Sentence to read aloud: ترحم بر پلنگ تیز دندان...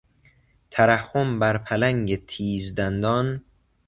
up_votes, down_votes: 2, 0